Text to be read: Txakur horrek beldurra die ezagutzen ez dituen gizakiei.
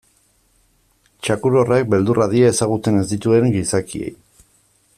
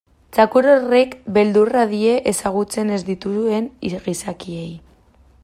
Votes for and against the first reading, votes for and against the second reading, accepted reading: 2, 0, 1, 2, first